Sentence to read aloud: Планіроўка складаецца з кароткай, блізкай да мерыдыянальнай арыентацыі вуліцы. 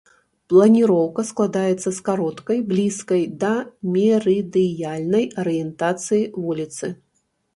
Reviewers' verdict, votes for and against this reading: rejected, 0, 3